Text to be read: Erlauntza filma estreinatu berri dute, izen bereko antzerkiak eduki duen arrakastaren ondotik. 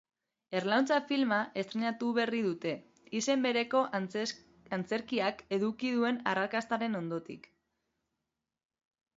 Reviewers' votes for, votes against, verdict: 0, 2, rejected